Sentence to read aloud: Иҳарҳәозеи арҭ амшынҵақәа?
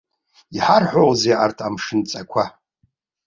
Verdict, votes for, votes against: accepted, 2, 0